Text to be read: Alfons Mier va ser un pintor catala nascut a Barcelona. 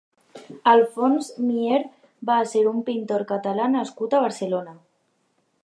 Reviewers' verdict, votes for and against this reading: accepted, 2, 0